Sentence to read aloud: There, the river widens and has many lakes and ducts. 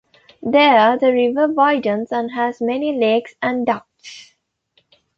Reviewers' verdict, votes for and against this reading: accepted, 2, 0